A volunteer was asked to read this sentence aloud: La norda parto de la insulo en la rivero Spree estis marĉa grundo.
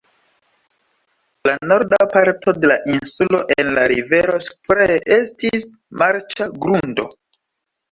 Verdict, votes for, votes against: accepted, 2, 1